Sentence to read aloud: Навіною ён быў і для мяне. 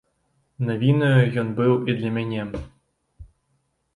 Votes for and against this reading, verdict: 1, 2, rejected